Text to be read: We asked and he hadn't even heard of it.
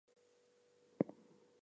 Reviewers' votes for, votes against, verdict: 0, 4, rejected